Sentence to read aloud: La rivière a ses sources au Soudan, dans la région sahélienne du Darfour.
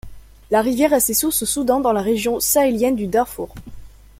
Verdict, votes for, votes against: accepted, 2, 0